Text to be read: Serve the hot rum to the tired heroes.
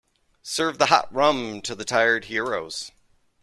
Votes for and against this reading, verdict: 2, 0, accepted